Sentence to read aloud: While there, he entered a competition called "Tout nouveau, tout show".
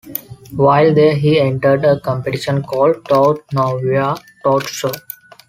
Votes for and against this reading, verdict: 2, 1, accepted